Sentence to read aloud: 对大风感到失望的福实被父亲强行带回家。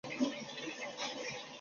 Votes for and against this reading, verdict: 0, 2, rejected